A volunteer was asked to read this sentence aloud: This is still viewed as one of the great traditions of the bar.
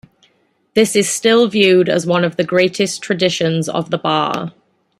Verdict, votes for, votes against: rejected, 0, 2